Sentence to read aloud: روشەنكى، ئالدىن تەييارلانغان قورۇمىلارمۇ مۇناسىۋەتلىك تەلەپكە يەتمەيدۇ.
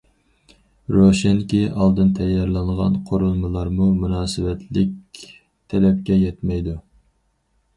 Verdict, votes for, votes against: accepted, 4, 0